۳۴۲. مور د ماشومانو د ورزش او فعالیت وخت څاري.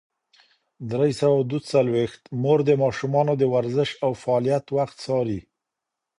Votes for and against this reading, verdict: 0, 2, rejected